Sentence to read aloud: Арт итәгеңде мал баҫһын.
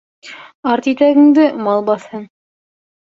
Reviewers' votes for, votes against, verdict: 2, 0, accepted